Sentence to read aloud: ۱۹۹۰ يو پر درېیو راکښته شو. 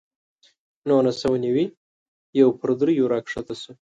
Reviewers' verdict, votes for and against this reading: rejected, 0, 2